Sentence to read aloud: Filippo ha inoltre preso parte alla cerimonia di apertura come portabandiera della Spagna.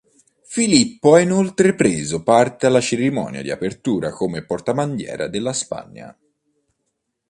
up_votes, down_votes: 2, 0